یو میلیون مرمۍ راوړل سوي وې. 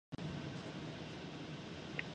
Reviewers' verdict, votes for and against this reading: rejected, 0, 2